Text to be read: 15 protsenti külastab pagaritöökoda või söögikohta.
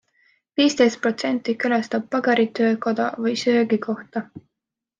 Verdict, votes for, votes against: rejected, 0, 2